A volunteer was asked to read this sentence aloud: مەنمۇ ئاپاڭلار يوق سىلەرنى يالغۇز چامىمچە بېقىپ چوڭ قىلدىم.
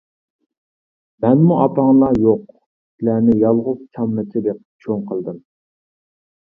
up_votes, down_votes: 0, 2